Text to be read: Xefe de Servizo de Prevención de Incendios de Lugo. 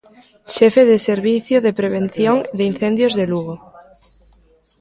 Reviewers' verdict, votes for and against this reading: rejected, 1, 2